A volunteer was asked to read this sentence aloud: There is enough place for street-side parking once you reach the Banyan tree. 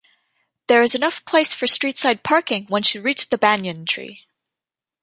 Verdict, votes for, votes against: accepted, 2, 0